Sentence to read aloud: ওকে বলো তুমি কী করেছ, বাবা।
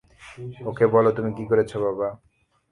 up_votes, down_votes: 0, 3